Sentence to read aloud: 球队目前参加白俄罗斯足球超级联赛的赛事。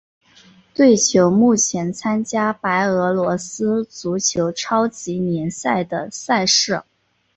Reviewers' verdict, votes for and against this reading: accepted, 3, 0